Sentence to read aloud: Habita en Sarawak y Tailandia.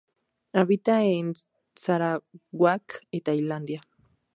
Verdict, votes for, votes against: rejected, 0, 2